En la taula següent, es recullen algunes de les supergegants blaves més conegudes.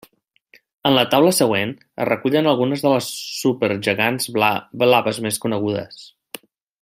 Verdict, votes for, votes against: rejected, 0, 2